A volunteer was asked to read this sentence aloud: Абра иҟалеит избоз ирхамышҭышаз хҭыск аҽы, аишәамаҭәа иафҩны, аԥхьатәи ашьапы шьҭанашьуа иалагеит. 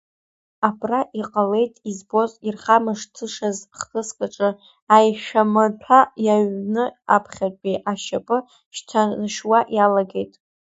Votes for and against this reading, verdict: 0, 2, rejected